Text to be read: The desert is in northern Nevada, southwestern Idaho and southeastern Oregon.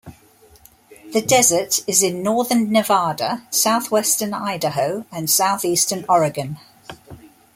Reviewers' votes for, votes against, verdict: 2, 0, accepted